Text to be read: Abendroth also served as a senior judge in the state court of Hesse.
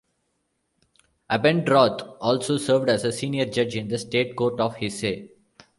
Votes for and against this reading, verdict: 0, 2, rejected